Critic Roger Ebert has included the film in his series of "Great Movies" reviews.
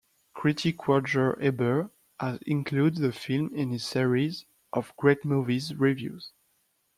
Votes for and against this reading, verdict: 2, 1, accepted